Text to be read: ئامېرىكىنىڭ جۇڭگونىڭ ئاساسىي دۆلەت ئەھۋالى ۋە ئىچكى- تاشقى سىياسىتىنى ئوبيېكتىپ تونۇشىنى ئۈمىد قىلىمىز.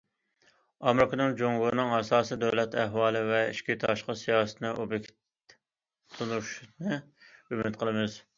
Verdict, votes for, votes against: rejected, 0, 2